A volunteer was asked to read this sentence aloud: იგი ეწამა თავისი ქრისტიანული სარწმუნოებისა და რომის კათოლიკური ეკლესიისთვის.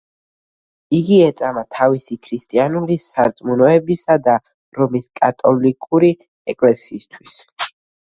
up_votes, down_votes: 1, 2